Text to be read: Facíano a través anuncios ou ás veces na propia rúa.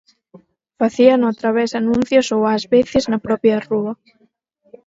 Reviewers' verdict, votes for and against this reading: rejected, 2, 4